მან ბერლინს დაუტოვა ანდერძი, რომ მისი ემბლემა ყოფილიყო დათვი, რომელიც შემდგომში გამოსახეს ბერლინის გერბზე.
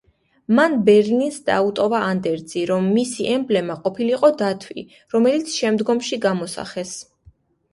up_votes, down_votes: 2, 1